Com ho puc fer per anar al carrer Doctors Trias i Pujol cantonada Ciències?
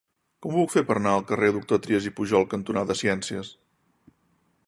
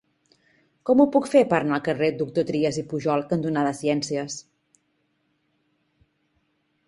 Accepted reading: second